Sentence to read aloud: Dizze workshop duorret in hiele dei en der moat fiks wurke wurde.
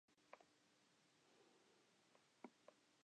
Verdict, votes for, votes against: rejected, 0, 2